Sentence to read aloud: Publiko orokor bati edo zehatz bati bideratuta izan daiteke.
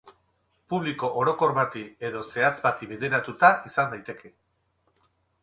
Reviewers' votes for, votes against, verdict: 6, 0, accepted